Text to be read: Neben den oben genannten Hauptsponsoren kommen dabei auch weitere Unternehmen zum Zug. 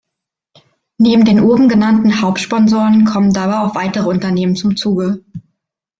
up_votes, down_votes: 1, 2